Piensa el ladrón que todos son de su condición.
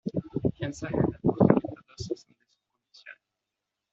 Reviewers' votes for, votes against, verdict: 0, 2, rejected